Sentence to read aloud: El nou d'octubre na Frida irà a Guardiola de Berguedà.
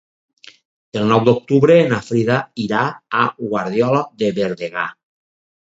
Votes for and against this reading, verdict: 2, 2, rejected